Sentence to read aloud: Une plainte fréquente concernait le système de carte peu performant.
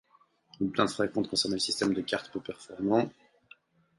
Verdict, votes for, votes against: accepted, 4, 0